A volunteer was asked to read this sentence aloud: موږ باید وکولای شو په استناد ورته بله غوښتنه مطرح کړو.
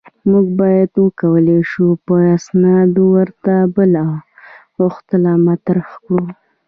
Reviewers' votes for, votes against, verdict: 2, 0, accepted